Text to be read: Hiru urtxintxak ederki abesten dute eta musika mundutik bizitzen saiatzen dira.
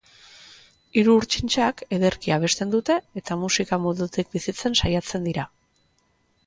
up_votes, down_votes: 2, 0